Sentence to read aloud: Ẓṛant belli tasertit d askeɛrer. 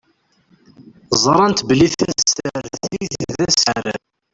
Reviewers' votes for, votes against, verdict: 0, 2, rejected